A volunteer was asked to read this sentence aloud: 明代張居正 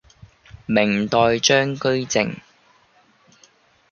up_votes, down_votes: 0, 2